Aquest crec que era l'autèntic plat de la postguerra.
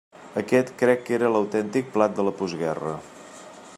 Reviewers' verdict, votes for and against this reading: accepted, 2, 0